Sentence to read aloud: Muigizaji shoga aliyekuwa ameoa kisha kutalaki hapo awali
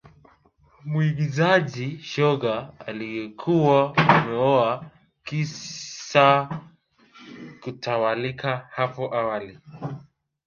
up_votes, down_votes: 0, 2